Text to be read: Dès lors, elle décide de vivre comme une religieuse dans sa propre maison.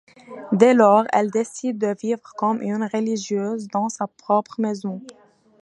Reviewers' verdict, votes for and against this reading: accepted, 2, 0